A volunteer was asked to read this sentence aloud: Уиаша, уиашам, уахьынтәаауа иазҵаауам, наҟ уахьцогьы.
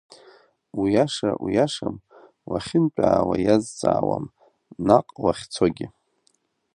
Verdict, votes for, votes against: accepted, 2, 0